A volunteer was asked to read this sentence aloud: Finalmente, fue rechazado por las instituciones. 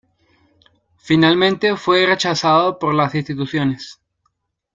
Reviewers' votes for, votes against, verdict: 2, 1, accepted